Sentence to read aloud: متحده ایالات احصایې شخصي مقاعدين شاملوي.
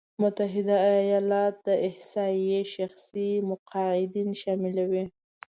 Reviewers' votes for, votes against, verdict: 0, 2, rejected